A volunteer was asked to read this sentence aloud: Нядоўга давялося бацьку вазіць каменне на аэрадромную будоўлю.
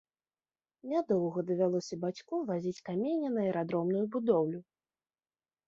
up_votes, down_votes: 1, 2